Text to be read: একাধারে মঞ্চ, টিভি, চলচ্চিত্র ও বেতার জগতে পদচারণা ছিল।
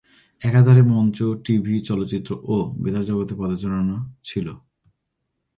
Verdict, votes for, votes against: accepted, 2, 0